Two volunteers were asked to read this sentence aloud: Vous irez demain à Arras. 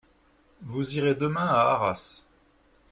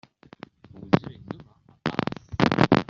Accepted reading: first